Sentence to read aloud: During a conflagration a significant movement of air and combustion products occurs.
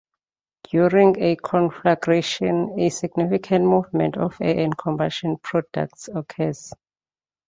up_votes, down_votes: 1, 2